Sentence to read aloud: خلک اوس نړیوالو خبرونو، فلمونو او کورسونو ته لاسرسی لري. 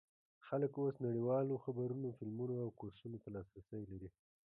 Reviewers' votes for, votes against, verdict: 0, 2, rejected